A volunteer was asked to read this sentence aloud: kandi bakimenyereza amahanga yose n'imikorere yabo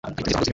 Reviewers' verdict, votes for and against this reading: rejected, 1, 2